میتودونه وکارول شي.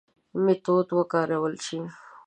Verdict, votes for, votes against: rejected, 1, 2